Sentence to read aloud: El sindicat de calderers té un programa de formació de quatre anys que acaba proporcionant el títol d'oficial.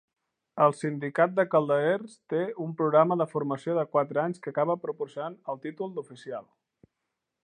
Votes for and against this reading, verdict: 2, 0, accepted